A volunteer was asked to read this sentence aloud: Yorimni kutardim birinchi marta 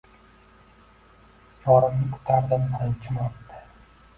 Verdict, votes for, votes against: accepted, 2, 1